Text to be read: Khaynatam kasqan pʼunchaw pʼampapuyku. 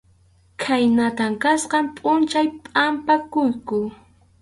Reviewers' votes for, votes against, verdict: 2, 2, rejected